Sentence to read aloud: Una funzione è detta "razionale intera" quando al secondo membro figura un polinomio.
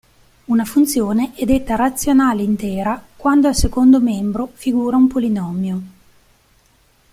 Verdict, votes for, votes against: accepted, 2, 1